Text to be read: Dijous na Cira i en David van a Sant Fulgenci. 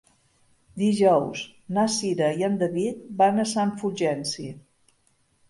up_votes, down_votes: 3, 0